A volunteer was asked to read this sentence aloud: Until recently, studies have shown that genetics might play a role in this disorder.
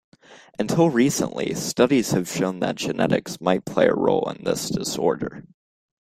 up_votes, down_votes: 2, 0